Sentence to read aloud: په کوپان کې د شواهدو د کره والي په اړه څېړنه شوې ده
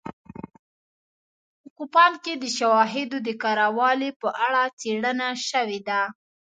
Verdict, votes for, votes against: accepted, 2, 0